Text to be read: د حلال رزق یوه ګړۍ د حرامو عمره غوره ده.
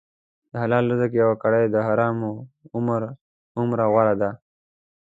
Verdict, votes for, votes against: rejected, 0, 2